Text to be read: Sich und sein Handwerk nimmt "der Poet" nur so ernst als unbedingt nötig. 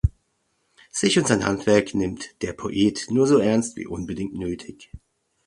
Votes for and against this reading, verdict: 1, 2, rejected